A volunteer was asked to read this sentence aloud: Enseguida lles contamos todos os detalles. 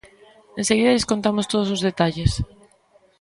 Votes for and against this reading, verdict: 2, 0, accepted